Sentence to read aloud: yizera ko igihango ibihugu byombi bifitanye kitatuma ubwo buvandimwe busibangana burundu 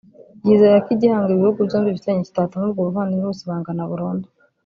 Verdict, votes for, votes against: rejected, 0, 2